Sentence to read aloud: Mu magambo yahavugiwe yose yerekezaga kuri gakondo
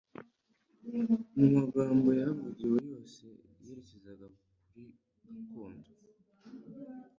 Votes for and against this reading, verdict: 2, 1, accepted